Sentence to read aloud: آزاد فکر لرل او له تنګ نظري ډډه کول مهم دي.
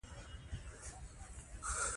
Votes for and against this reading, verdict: 0, 2, rejected